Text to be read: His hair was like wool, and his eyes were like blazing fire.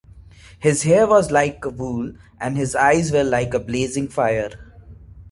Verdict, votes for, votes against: accepted, 2, 1